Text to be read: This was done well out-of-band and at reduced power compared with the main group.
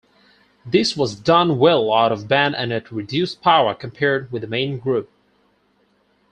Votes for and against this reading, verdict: 4, 0, accepted